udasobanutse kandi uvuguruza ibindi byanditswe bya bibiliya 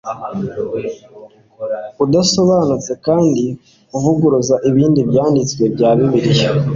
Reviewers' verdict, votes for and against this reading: accepted, 2, 0